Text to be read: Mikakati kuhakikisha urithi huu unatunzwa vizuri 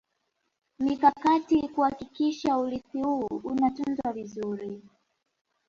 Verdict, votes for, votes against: accepted, 3, 1